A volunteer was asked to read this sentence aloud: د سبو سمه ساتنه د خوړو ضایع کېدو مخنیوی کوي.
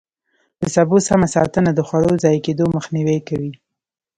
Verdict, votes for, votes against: accepted, 2, 0